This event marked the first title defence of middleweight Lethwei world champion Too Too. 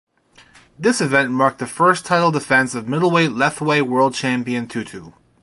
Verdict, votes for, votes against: accepted, 2, 0